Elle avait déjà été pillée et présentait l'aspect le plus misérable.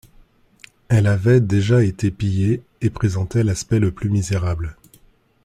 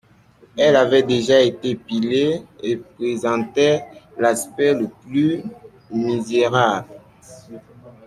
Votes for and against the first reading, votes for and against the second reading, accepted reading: 2, 0, 0, 2, first